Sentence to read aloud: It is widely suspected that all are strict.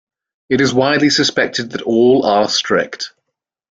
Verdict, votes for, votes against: accepted, 2, 0